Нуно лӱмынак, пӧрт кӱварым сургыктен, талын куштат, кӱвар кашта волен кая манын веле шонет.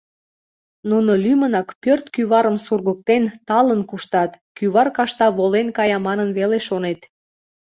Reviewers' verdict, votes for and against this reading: accepted, 2, 1